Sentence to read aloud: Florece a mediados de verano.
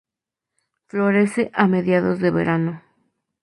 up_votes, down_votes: 2, 0